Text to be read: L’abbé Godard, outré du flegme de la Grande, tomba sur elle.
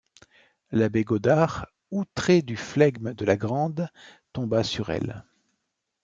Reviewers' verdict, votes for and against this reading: accepted, 2, 0